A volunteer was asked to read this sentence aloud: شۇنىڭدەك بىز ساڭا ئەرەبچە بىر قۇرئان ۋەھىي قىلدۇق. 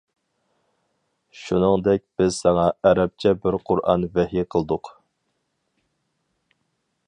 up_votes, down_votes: 4, 0